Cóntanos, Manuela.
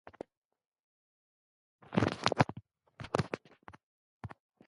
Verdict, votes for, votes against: rejected, 0, 2